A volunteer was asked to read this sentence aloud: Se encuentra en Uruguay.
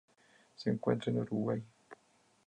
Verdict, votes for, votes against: accepted, 4, 0